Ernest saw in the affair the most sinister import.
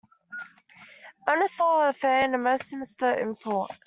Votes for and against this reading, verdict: 0, 2, rejected